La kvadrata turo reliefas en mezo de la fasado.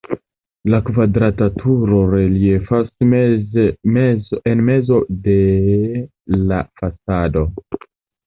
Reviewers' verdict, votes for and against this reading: rejected, 0, 2